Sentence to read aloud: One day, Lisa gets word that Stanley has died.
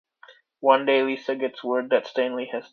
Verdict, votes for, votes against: rejected, 0, 2